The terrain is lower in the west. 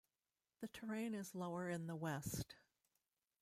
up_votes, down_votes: 1, 2